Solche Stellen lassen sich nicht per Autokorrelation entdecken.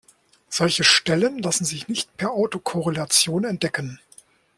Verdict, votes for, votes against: accepted, 2, 0